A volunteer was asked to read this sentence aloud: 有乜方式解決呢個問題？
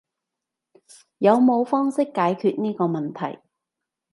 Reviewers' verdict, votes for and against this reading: rejected, 0, 3